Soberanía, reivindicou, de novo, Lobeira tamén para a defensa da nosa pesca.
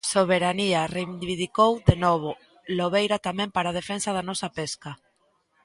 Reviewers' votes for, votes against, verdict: 0, 2, rejected